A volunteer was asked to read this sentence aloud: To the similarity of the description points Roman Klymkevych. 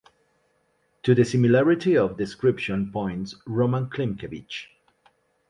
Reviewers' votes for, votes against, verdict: 2, 0, accepted